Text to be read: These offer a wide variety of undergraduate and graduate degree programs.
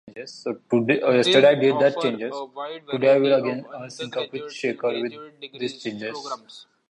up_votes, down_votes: 0, 2